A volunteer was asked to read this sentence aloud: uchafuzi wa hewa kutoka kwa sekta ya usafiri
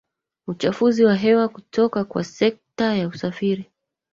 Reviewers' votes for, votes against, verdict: 1, 2, rejected